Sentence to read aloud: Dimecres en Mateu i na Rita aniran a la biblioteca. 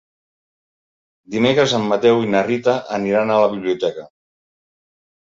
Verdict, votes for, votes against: rejected, 0, 2